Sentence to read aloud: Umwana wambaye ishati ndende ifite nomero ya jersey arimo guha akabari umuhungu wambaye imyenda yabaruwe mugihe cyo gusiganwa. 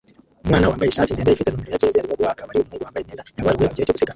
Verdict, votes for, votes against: rejected, 0, 2